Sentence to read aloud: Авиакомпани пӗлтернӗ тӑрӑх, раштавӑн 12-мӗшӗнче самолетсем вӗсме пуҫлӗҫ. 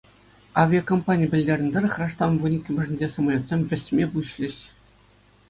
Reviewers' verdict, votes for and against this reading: rejected, 0, 2